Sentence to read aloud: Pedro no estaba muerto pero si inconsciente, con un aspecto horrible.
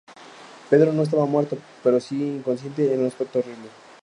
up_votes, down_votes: 2, 0